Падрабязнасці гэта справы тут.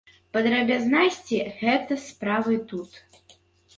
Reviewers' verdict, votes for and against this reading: rejected, 0, 2